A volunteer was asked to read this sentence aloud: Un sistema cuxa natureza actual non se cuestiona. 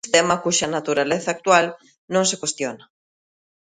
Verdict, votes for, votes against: rejected, 0, 2